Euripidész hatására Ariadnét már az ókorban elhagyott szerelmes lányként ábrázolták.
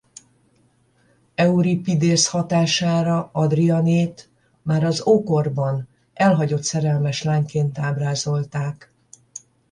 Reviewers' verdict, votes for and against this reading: rejected, 0, 10